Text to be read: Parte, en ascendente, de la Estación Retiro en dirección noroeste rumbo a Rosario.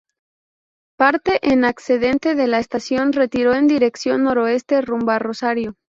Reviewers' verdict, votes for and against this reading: rejected, 0, 2